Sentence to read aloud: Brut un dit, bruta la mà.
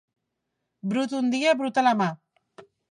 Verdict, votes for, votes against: rejected, 0, 3